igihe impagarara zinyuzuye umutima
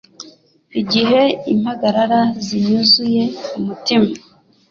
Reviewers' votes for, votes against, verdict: 2, 0, accepted